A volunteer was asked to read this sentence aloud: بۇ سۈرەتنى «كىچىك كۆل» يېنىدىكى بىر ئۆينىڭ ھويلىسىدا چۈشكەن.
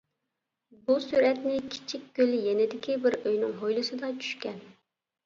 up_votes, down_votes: 2, 0